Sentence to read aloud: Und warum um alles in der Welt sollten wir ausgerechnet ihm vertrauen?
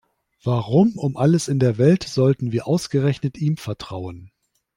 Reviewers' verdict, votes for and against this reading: rejected, 1, 2